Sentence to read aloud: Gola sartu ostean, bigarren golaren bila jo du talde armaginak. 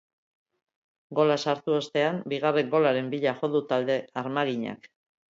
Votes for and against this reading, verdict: 2, 0, accepted